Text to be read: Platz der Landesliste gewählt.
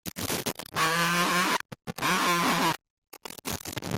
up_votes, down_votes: 0, 2